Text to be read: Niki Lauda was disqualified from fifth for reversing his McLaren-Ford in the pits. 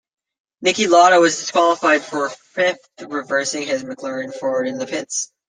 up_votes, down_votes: 0, 2